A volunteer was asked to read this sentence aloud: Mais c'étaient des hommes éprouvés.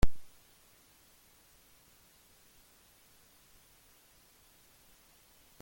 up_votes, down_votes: 0, 2